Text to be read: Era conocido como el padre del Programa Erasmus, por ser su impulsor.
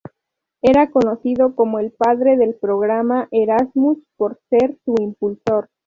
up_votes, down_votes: 2, 0